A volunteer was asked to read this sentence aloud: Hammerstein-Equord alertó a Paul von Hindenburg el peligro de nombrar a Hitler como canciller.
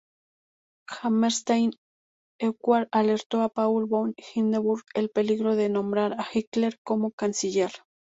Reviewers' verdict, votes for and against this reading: rejected, 0, 2